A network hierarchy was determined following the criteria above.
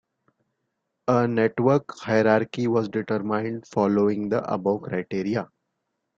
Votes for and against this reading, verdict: 1, 2, rejected